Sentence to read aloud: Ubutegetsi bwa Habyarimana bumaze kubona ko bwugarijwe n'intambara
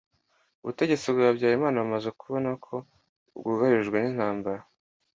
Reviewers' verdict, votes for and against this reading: accepted, 2, 0